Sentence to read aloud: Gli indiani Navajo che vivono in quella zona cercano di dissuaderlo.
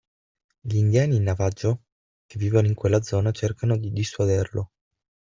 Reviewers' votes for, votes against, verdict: 3, 6, rejected